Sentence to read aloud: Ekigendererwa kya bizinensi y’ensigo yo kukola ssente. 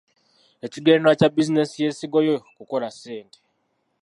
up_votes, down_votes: 0, 2